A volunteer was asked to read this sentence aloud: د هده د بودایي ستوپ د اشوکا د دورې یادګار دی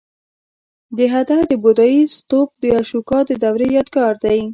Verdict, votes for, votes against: rejected, 0, 2